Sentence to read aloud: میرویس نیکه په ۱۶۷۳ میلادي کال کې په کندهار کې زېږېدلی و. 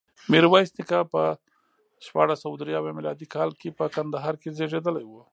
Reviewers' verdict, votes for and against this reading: rejected, 0, 2